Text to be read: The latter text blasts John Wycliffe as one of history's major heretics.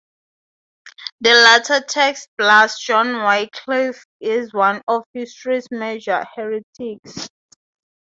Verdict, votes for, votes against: accepted, 4, 0